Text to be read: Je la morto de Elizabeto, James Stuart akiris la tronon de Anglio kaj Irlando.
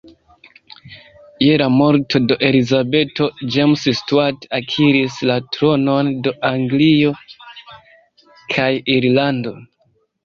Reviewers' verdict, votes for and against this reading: rejected, 1, 2